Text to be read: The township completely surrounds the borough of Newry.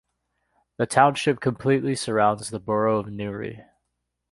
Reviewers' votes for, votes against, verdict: 2, 0, accepted